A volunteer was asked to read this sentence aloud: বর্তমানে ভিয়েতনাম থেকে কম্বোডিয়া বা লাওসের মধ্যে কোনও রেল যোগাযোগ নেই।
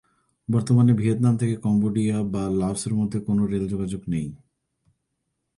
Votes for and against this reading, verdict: 2, 0, accepted